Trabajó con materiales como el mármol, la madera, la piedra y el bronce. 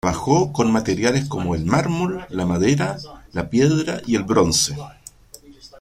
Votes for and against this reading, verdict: 2, 1, accepted